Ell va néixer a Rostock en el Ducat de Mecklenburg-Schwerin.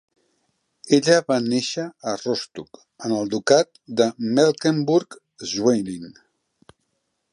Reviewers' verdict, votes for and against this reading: rejected, 0, 4